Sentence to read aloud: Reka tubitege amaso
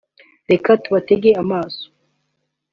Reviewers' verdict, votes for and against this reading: rejected, 0, 2